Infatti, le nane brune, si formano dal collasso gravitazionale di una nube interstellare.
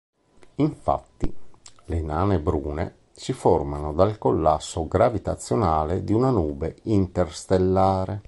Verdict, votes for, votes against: accepted, 3, 0